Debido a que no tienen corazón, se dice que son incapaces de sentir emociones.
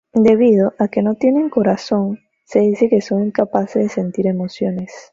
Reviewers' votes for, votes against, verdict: 2, 0, accepted